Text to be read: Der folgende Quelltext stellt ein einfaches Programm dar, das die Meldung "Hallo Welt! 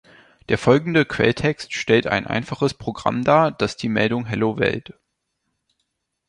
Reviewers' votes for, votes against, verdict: 1, 2, rejected